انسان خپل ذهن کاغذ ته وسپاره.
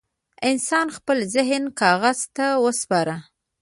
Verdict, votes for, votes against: rejected, 1, 2